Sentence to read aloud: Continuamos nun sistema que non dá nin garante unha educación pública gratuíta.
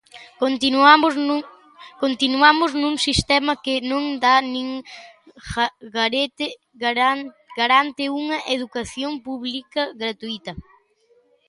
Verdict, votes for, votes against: rejected, 0, 4